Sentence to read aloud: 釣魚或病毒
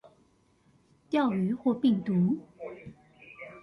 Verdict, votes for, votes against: rejected, 0, 2